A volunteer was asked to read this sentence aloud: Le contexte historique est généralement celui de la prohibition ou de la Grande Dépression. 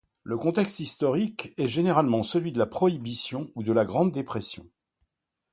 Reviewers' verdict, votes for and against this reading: accepted, 2, 0